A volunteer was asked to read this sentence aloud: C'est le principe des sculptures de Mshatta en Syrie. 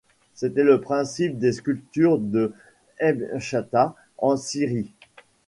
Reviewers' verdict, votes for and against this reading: rejected, 1, 2